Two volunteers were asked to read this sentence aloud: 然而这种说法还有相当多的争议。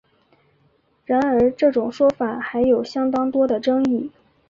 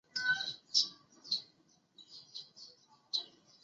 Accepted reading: first